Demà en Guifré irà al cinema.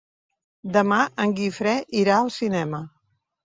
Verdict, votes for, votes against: accepted, 3, 0